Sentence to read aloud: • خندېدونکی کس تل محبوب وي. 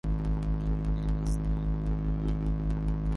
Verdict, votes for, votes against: rejected, 0, 2